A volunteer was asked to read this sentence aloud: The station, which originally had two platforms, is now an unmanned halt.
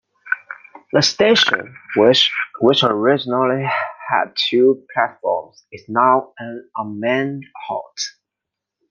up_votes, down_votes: 0, 2